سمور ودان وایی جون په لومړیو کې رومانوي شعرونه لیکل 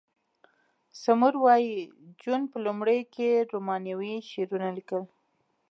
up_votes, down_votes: 0, 2